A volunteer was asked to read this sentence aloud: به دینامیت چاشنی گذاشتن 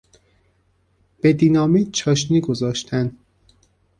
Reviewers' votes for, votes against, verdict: 0, 2, rejected